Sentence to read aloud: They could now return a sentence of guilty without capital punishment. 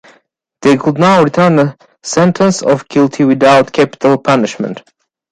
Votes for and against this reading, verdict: 2, 1, accepted